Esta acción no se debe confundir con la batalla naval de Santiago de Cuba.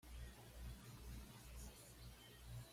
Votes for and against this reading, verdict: 1, 2, rejected